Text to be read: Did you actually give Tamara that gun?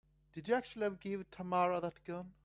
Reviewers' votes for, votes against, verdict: 1, 2, rejected